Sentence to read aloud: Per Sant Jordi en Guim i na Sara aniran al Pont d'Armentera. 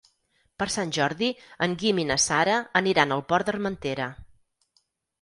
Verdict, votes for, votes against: rejected, 6, 8